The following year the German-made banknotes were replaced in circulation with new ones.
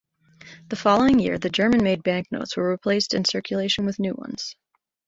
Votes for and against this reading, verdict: 2, 0, accepted